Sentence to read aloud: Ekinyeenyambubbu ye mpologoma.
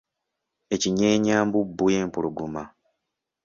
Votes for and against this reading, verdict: 2, 0, accepted